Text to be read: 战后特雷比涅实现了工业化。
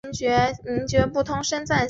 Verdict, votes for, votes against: rejected, 0, 2